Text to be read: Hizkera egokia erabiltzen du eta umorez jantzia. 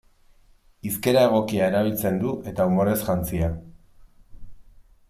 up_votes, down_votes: 2, 0